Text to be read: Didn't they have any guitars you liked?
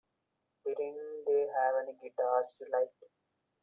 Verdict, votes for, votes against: rejected, 1, 2